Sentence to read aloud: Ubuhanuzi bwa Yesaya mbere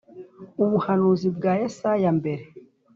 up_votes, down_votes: 3, 0